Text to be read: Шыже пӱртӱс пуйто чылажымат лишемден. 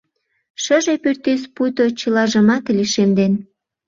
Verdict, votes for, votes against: accepted, 2, 0